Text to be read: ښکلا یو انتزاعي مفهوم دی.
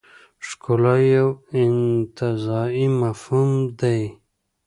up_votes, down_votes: 2, 0